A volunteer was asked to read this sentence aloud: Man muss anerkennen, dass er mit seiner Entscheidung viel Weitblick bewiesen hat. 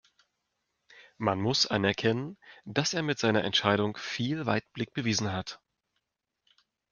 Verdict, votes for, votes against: accepted, 2, 0